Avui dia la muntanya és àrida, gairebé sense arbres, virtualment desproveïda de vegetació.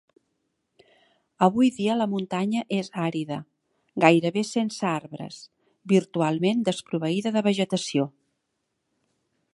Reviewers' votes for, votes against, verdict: 3, 0, accepted